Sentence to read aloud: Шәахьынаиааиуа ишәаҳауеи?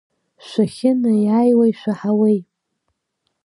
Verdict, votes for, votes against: accepted, 2, 0